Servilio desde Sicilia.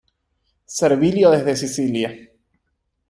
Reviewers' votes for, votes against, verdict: 1, 2, rejected